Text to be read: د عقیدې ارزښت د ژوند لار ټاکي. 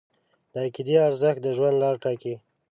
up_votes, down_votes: 2, 0